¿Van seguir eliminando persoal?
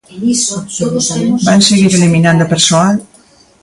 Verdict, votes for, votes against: rejected, 0, 2